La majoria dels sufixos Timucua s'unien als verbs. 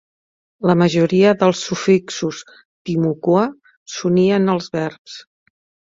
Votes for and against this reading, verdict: 3, 0, accepted